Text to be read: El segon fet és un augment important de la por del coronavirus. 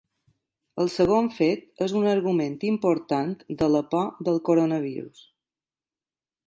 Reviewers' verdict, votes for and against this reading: accepted, 2, 1